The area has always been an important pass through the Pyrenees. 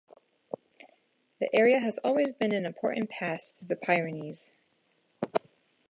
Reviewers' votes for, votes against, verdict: 2, 0, accepted